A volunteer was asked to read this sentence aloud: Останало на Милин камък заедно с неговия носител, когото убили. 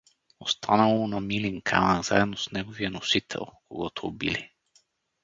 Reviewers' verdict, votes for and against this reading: rejected, 2, 2